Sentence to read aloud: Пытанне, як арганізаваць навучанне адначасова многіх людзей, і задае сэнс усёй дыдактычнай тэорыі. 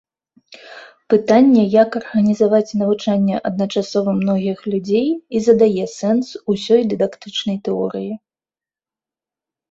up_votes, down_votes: 2, 0